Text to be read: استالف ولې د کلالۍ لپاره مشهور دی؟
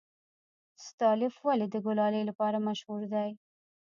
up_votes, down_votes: 0, 2